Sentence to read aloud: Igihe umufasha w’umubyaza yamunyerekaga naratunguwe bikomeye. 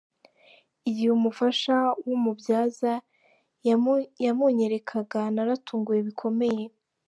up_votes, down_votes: 1, 2